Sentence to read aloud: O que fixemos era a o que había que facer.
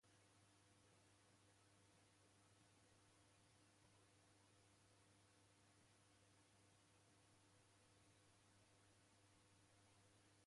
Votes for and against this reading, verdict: 0, 2, rejected